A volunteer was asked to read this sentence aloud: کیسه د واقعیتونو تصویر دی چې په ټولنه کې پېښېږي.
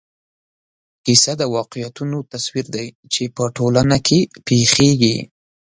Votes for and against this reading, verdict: 3, 0, accepted